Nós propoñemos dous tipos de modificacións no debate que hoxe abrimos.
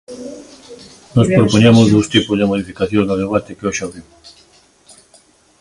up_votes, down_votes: 1, 2